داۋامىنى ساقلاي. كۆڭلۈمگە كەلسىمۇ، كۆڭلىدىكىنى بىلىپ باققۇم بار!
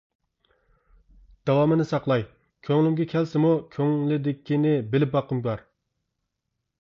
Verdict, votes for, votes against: rejected, 1, 2